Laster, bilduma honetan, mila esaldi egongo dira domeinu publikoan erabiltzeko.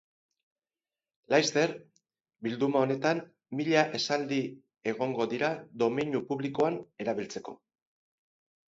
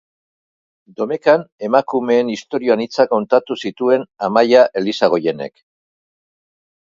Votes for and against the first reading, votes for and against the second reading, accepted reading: 6, 2, 0, 3, first